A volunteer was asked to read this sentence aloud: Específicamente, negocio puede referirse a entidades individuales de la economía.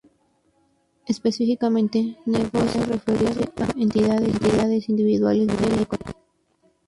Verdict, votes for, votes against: rejected, 0, 2